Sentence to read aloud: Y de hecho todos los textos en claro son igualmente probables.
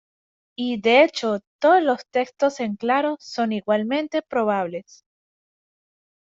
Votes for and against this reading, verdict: 2, 0, accepted